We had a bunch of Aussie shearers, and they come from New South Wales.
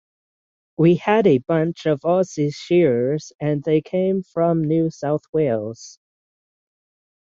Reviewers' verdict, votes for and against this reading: rejected, 3, 6